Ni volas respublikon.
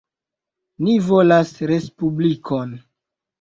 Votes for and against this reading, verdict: 1, 2, rejected